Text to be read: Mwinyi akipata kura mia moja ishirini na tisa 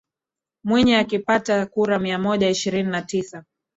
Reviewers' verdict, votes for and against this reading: rejected, 0, 2